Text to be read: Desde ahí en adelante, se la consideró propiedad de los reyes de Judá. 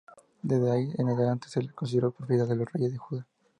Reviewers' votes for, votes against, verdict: 0, 2, rejected